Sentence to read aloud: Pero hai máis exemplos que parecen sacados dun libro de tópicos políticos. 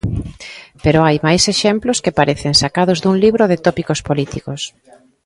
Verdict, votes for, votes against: accepted, 2, 0